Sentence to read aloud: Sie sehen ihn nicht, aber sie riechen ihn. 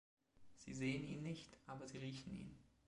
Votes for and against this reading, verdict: 3, 2, accepted